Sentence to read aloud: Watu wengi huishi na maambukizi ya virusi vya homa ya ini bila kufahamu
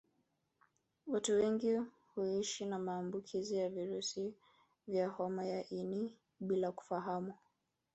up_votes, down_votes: 1, 2